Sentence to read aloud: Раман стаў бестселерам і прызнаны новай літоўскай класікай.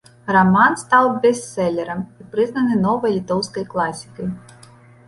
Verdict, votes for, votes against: accepted, 2, 0